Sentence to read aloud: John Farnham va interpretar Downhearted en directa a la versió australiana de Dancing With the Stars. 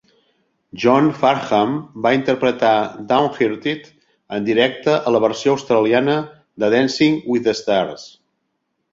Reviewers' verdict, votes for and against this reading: rejected, 0, 2